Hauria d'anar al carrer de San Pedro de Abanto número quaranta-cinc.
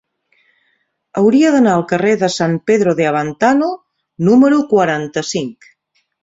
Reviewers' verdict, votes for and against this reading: rejected, 1, 2